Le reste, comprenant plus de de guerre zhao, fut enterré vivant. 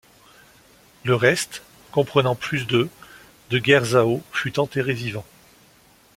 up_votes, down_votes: 2, 0